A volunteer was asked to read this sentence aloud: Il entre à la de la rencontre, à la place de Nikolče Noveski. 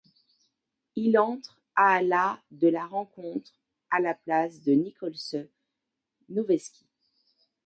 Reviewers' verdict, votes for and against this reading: accepted, 2, 0